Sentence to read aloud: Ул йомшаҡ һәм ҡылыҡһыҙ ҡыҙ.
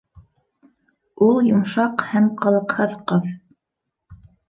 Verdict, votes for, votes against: accepted, 2, 0